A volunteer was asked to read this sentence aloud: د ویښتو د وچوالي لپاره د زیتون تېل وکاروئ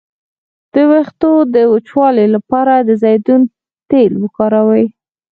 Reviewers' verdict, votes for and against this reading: rejected, 2, 4